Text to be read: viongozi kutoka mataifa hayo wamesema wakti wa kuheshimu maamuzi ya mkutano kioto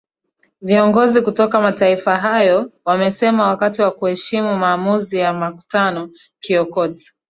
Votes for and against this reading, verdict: 1, 2, rejected